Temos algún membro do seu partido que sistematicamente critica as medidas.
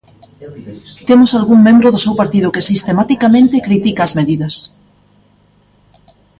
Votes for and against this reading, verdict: 0, 2, rejected